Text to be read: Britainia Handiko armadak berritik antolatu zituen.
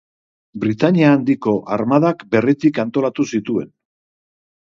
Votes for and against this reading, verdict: 3, 0, accepted